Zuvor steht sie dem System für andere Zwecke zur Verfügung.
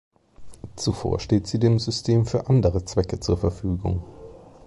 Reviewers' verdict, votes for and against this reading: accepted, 2, 0